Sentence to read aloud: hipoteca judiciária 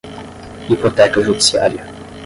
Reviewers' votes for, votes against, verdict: 10, 0, accepted